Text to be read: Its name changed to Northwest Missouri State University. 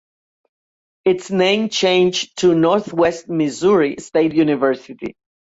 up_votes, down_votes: 2, 0